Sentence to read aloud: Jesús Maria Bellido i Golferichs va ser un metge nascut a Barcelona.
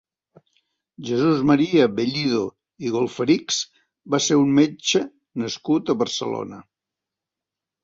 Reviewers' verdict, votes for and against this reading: accepted, 2, 0